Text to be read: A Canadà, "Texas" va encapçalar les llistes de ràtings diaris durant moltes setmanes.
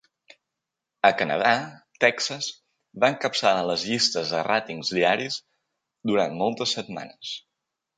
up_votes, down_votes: 2, 0